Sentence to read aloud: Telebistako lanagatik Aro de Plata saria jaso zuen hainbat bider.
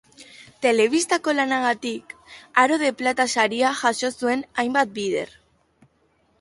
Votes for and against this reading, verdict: 2, 0, accepted